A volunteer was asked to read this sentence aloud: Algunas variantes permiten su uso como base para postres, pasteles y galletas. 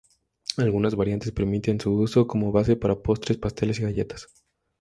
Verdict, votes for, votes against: accepted, 2, 0